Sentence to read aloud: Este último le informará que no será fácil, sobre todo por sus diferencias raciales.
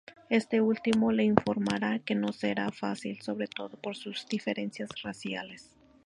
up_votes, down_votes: 0, 2